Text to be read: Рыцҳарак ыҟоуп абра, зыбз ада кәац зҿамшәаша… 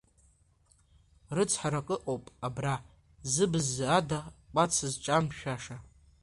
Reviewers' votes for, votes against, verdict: 1, 2, rejected